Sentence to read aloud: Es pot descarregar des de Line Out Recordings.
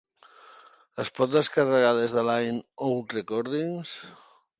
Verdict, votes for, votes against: rejected, 0, 2